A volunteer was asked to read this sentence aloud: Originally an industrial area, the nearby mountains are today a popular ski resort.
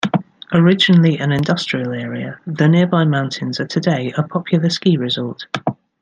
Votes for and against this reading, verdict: 2, 0, accepted